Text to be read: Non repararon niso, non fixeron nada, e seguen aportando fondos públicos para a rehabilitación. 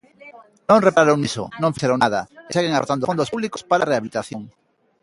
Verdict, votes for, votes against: rejected, 0, 2